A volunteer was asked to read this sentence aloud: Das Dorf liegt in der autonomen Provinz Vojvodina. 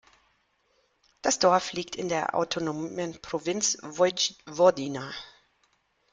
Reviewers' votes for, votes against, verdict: 0, 2, rejected